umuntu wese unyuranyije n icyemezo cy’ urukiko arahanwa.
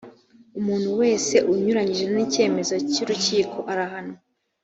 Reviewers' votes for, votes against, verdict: 2, 0, accepted